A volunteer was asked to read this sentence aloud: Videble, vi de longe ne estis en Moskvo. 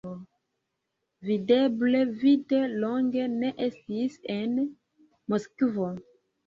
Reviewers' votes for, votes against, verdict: 0, 2, rejected